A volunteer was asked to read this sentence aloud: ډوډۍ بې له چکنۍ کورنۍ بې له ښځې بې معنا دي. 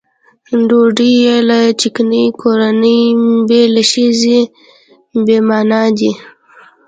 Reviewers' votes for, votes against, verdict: 2, 0, accepted